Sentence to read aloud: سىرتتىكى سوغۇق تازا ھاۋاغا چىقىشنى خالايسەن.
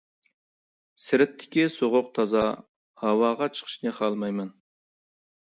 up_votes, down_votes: 1, 2